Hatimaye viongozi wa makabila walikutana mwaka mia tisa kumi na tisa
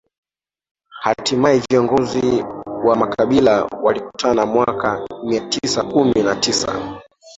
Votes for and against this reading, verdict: 1, 2, rejected